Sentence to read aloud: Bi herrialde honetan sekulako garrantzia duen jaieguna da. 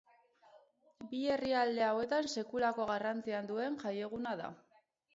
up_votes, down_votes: 4, 12